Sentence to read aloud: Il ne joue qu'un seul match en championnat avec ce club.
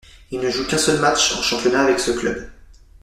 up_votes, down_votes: 2, 0